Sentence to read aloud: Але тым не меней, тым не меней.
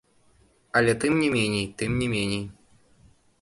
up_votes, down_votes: 1, 2